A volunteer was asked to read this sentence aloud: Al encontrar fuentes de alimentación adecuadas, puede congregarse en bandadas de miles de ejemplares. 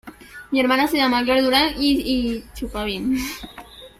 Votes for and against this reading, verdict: 0, 2, rejected